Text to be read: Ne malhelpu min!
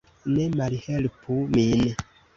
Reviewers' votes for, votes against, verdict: 1, 2, rejected